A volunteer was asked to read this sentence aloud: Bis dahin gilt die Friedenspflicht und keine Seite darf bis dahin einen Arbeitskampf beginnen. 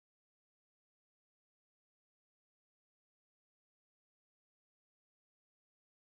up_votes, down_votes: 0, 2